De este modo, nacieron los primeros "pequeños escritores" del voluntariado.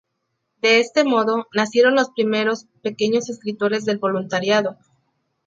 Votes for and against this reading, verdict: 2, 0, accepted